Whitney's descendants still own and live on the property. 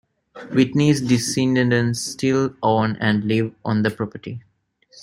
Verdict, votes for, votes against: rejected, 1, 2